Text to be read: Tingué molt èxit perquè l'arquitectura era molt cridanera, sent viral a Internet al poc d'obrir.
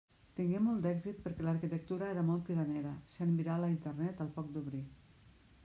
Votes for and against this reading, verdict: 2, 0, accepted